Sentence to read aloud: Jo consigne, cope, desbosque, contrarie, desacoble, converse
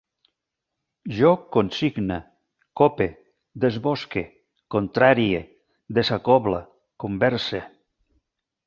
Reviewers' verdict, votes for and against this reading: accepted, 3, 0